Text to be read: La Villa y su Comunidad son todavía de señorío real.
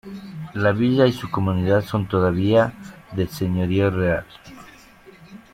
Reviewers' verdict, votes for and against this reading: rejected, 1, 2